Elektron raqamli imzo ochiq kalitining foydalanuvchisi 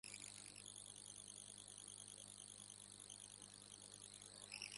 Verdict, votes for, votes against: rejected, 1, 2